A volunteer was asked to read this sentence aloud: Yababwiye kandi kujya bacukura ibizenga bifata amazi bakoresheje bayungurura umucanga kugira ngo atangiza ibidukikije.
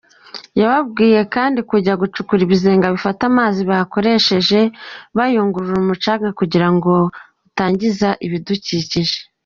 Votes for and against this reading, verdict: 0, 2, rejected